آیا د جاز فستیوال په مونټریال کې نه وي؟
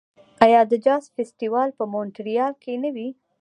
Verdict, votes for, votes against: rejected, 1, 2